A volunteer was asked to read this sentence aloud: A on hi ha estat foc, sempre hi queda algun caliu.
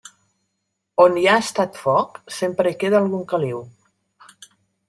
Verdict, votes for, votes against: accepted, 2, 0